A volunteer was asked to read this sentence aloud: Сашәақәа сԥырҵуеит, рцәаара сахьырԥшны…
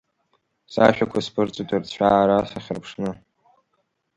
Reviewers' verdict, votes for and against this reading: accepted, 2, 1